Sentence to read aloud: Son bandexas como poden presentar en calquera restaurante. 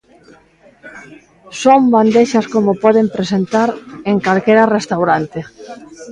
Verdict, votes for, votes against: rejected, 1, 2